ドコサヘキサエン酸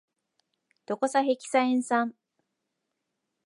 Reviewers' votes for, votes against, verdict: 2, 0, accepted